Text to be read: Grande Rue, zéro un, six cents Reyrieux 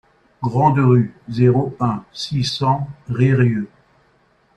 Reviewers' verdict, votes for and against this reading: accepted, 2, 0